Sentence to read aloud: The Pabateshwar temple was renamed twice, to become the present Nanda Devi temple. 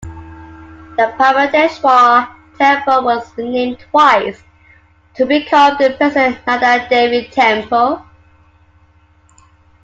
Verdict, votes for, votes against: accepted, 2, 1